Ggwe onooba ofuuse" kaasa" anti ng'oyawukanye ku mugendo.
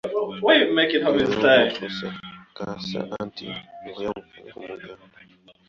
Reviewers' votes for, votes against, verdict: 0, 2, rejected